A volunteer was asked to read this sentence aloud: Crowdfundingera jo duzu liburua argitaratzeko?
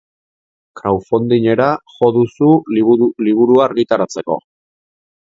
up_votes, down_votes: 1, 3